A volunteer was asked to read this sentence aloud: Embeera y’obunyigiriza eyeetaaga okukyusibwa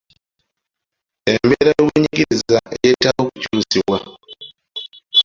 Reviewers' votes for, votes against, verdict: 0, 2, rejected